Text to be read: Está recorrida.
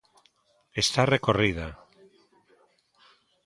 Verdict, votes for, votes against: accepted, 2, 0